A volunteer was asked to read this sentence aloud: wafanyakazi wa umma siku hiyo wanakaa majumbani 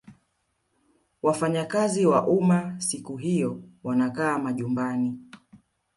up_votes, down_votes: 2, 0